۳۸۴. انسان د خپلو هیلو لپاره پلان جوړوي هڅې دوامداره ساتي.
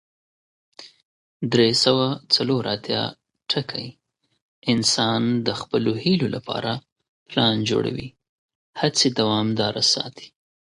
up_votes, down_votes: 0, 2